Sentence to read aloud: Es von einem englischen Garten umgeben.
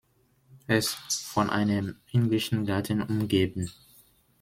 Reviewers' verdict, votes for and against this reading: rejected, 1, 2